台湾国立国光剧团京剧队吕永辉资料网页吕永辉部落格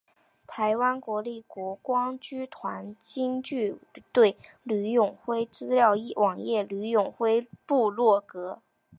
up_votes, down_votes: 2, 0